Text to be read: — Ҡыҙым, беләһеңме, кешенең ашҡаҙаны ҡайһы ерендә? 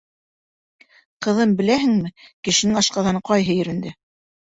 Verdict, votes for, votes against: accepted, 2, 0